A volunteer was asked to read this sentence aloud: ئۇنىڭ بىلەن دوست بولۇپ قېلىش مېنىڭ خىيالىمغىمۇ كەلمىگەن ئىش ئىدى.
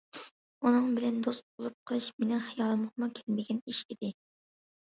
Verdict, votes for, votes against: accepted, 2, 0